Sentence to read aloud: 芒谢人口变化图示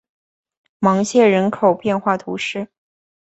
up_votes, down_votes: 4, 0